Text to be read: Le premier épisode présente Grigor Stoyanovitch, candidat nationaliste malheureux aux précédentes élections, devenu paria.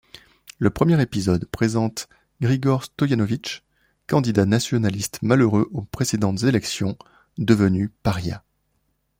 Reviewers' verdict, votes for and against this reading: accepted, 2, 1